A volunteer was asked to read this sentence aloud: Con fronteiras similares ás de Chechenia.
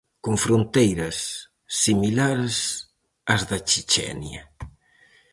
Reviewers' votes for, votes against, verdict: 2, 2, rejected